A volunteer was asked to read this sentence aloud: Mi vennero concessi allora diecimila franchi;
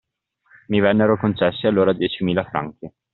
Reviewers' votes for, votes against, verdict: 2, 0, accepted